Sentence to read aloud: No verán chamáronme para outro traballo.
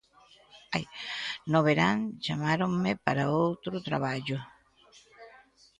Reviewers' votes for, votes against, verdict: 0, 2, rejected